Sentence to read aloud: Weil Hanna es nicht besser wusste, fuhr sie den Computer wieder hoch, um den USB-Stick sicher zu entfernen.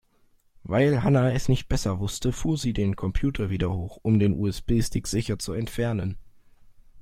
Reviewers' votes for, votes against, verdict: 1, 2, rejected